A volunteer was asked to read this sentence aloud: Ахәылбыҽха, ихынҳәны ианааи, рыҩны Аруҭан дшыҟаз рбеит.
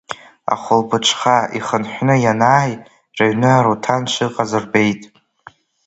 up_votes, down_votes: 2, 1